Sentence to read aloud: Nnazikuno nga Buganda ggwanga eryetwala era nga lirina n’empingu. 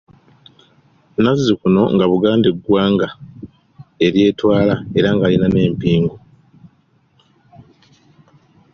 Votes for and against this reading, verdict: 3, 2, accepted